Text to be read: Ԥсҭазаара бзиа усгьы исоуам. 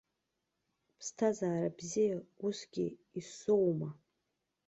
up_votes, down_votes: 2, 0